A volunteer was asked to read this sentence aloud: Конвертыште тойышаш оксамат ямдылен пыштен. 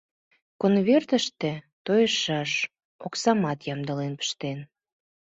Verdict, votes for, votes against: accepted, 2, 0